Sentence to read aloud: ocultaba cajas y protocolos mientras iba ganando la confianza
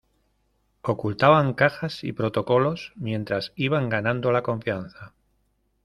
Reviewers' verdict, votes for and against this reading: rejected, 0, 2